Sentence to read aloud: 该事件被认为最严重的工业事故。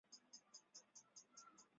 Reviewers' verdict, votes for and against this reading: rejected, 0, 3